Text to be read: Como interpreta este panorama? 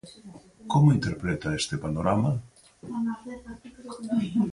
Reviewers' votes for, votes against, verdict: 4, 2, accepted